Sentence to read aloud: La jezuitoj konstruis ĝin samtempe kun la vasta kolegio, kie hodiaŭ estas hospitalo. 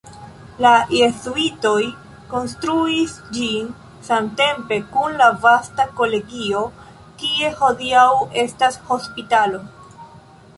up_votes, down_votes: 1, 2